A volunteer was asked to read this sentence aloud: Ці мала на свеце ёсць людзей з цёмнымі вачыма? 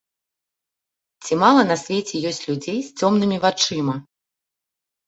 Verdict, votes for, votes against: accepted, 2, 0